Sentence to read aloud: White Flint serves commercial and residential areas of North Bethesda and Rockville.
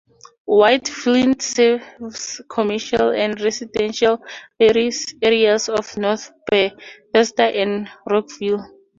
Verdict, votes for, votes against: rejected, 2, 2